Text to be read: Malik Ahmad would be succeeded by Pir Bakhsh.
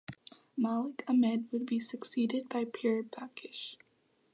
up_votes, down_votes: 0, 2